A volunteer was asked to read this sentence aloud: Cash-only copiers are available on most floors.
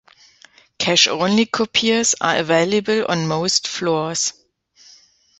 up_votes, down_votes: 2, 0